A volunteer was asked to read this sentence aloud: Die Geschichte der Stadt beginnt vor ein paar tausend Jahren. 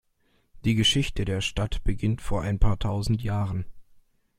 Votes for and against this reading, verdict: 2, 0, accepted